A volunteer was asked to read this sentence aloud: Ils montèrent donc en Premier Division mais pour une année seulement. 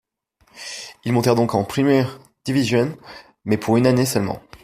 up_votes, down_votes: 1, 2